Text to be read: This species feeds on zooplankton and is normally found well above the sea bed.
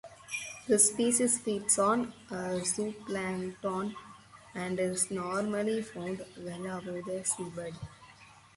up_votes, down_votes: 4, 2